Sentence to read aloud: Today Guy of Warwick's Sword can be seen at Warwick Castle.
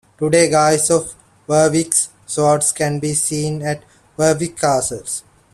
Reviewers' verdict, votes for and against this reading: rejected, 1, 2